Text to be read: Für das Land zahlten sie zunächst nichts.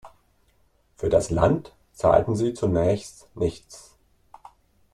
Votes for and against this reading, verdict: 2, 0, accepted